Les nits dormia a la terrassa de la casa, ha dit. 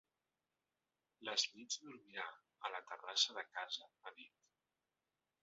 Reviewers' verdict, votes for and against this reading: rejected, 1, 2